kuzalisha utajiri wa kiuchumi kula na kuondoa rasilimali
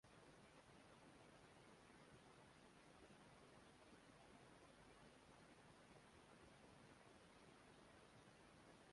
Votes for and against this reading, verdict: 1, 2, rejected